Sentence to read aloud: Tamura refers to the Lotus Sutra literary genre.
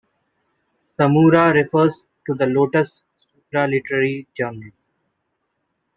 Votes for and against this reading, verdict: 1, 2, rejected